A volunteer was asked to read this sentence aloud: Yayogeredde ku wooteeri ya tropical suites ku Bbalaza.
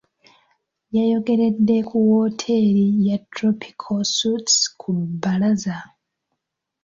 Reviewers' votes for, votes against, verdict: 2, 0, accepted